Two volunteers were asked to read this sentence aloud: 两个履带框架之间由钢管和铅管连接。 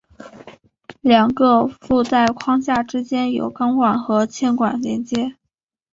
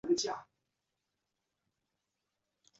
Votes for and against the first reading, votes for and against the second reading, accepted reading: 2, 0, 1, 2, first